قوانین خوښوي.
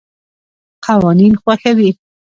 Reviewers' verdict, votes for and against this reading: accepted, 2, 1